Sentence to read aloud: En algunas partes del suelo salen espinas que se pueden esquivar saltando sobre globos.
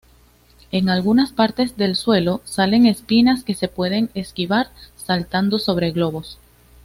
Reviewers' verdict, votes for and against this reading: accepted, 2, 0